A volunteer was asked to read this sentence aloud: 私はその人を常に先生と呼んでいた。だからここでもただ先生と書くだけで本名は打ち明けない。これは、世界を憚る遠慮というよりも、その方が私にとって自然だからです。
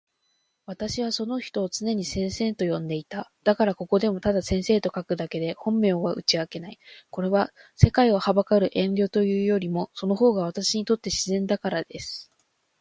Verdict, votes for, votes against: accepted, 2, 0